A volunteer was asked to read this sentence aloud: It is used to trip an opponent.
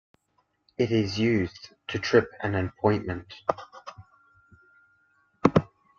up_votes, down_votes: 0, 3